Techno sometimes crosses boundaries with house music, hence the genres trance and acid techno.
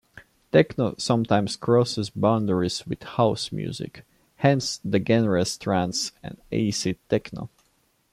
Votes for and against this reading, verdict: 1, 2, rejected